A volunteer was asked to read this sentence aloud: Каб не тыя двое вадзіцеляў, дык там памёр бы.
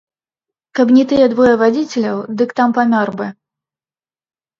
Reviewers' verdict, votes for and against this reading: accepted, 2, 0